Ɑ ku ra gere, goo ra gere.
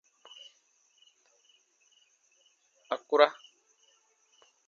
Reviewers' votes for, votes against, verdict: 0, 2, rejected